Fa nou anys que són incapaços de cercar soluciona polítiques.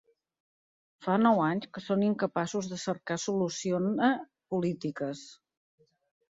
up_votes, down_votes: 1, 2